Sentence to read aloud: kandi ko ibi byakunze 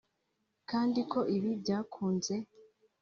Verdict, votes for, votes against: accepted, 3, 0